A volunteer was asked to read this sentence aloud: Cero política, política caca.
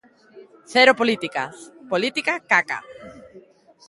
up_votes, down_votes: 3, 0